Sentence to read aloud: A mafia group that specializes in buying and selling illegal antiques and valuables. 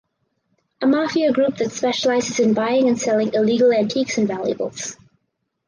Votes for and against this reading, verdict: 4, 0, accepted